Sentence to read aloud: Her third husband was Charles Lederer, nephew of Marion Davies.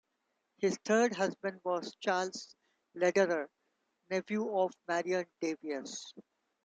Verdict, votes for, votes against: rejected, 1, 2